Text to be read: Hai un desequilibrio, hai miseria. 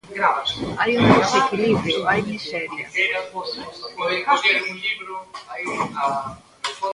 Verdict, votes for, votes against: rejected, 0, 2